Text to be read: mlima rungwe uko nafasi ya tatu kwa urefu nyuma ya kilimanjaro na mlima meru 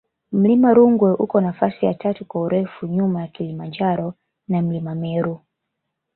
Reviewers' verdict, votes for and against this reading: accepted, 2, 0